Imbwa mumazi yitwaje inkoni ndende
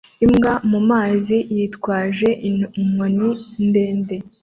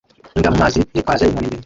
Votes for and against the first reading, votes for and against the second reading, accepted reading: 2, 1, 1, 2, first